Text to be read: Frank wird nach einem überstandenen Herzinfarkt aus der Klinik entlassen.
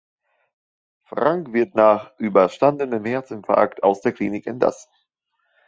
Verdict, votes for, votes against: rejected, 0, 3